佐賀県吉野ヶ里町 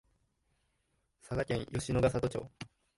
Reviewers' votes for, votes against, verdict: 0, 2, rejected